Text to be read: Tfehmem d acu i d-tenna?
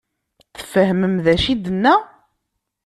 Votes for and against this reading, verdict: 2, 0, accepted